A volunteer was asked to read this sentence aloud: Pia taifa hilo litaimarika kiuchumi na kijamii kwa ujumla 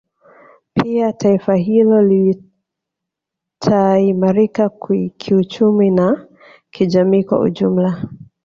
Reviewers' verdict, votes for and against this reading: accepted, 2, 1